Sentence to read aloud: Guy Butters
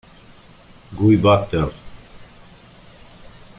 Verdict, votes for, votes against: rejected, 1, 2